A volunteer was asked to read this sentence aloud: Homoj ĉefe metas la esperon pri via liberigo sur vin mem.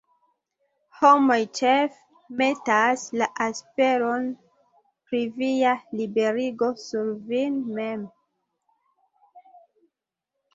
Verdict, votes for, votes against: rejected, 0, 2